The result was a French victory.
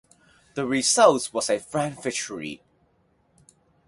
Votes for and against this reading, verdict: 2, 2, rejected